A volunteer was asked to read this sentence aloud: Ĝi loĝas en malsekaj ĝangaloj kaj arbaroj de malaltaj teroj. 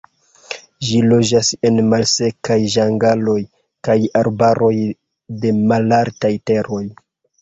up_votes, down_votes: 2, 0